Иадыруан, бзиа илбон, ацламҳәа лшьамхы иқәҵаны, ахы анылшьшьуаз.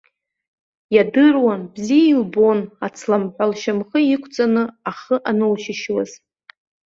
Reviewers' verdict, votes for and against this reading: rejected, 1, 2